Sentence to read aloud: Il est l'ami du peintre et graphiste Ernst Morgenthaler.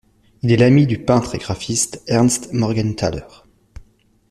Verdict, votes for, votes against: accepted, 2, 0